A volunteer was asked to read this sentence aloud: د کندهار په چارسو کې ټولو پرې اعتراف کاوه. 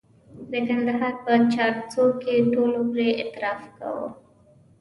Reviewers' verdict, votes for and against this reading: accepted, 2, 0